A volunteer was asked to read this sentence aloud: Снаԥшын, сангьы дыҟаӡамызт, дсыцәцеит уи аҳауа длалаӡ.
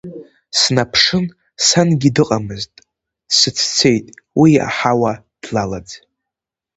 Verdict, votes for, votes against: rejected, 0, 2